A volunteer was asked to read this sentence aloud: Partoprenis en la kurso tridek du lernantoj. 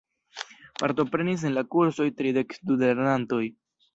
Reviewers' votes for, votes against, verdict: 0, 2, rejected